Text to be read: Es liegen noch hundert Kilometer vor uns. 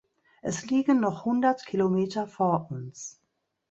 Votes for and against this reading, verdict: 3, 0, accepted